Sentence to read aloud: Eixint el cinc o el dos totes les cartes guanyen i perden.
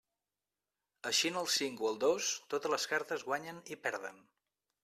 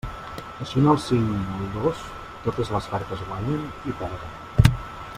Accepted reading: first